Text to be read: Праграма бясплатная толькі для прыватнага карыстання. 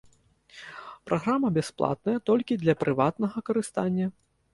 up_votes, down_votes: 2, 0